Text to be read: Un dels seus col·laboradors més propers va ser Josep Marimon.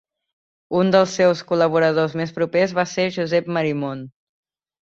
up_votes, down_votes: 2, 0